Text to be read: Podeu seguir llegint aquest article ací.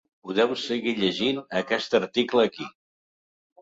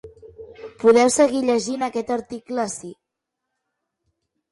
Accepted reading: second